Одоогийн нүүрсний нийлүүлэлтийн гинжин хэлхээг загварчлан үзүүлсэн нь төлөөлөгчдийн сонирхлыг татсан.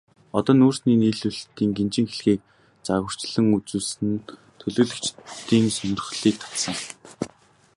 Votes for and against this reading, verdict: 2, 2, rejected